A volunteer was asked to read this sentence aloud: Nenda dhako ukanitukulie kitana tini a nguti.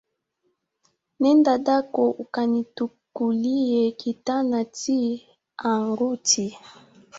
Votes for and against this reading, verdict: 0, 2, rejected